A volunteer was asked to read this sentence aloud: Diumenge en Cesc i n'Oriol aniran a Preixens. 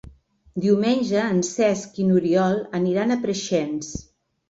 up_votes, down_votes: 3, 0